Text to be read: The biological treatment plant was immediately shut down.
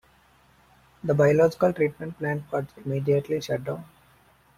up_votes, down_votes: 2, 0